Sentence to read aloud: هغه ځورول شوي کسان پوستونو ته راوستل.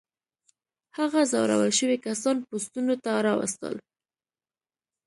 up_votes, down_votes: 2, 0